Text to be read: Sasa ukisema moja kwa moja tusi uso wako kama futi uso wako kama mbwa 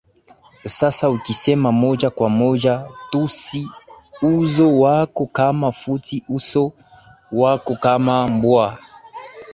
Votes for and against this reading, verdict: 2, 2, rejected